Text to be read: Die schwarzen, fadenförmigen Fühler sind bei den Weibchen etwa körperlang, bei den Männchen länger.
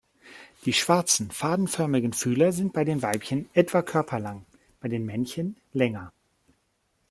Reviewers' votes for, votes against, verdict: 2, 0, accepted